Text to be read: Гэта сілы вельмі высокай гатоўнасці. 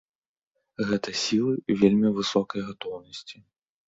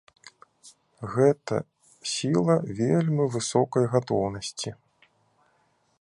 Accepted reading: first